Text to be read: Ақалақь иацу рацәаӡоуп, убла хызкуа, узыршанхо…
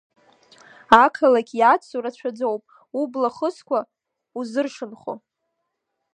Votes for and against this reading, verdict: 2, 0, accepted